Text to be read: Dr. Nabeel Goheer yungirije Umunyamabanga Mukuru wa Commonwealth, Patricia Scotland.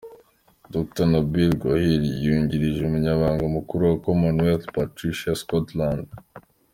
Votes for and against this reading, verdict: 2, 0, accepted